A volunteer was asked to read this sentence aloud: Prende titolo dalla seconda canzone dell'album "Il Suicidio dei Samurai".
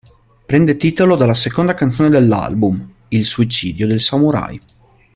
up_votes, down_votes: 0, 2